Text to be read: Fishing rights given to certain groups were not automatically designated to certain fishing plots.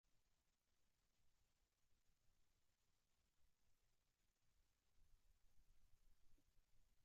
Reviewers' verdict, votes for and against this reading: rejected, 0, 2